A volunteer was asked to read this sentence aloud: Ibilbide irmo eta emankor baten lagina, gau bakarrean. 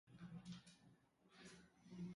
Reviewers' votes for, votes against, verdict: 0, 2, rejected